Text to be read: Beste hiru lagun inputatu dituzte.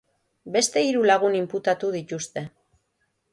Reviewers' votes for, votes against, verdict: 3, 0, accepted